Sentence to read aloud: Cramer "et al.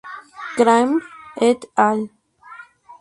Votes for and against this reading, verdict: 0, 2, rejected